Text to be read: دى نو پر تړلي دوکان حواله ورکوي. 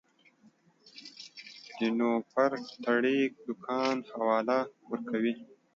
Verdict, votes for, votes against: rejected, 1, 2